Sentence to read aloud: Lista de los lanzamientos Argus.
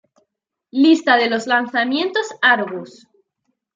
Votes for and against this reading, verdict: 2, 0, accepted